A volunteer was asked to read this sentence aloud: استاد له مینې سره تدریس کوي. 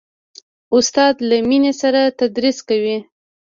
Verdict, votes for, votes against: rejected, 1, 2